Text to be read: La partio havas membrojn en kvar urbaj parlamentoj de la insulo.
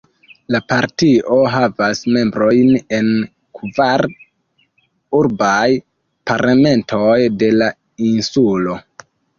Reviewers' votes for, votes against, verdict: 1, 2, rejected